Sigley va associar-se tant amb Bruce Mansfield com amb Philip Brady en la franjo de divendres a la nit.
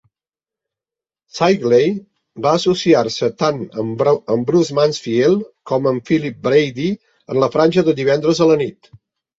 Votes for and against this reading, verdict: 0, 4, rejected